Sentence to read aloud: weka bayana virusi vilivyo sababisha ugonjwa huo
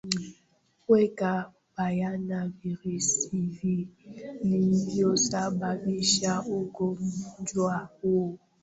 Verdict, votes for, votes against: rejected, 0, 2